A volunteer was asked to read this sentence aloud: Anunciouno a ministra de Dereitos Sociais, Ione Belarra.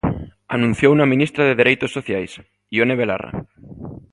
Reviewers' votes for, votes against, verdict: 2, 0, accepted